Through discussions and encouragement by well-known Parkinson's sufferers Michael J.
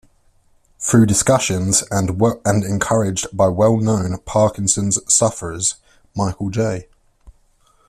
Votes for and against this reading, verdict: 1, 2, rejected